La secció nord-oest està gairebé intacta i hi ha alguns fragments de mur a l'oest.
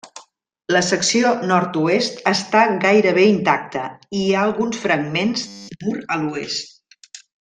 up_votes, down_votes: 1, 2